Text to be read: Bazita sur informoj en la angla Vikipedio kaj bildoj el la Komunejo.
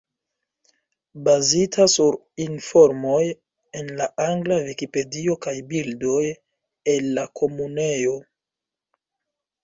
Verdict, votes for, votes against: accepted, 2, 0